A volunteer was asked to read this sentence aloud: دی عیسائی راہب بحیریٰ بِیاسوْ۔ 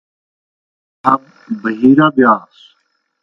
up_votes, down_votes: 0, 2